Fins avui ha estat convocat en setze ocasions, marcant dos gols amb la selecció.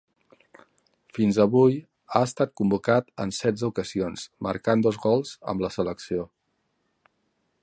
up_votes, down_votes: 2, 0